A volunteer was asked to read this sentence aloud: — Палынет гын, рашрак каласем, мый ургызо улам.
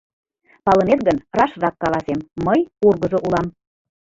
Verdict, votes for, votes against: accepted, 2, 0